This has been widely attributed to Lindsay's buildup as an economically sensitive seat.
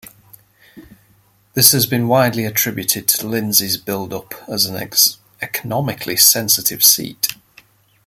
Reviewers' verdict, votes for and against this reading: rejected, 0, 2